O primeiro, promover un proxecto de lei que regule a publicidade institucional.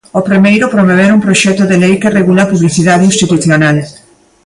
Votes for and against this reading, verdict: 2, 0, accepted